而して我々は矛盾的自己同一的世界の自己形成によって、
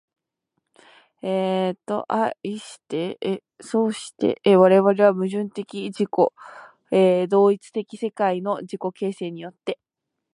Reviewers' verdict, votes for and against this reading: rejected, 0, 2